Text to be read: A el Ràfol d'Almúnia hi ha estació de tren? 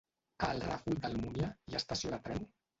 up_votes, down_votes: 0, 2